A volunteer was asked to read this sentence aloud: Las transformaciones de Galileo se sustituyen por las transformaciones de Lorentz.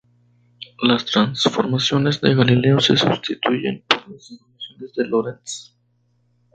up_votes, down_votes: 0, 2